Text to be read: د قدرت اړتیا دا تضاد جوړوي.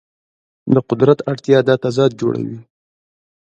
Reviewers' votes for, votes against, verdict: 2, 1, accepted